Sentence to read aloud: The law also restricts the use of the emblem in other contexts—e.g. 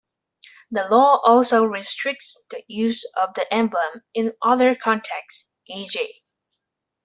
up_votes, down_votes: 2, 1